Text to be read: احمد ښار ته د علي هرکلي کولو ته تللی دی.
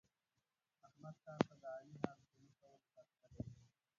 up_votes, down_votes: 0, 2